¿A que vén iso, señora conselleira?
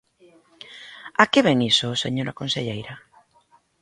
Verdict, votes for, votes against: accepted, 2, 0